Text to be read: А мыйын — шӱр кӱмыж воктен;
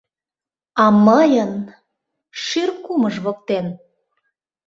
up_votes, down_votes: 0, 2